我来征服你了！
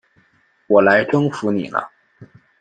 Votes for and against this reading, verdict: 2, 1, accepted